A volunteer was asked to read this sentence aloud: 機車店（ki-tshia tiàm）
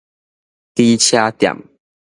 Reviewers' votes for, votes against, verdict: 2, 0, accepted